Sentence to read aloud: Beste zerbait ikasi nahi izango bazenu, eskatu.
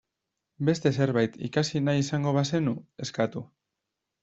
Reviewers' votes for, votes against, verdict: 1, 2, rejected